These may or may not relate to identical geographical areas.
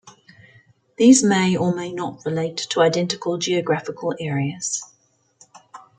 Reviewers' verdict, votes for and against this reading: accepted, 2, 0